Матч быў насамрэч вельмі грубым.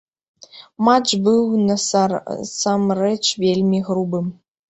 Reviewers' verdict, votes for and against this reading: rejected, 1, 2